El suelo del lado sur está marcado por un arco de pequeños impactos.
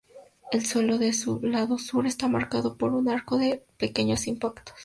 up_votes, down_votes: 0, 2